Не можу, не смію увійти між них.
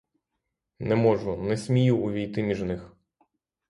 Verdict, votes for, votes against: accepted, 3, 0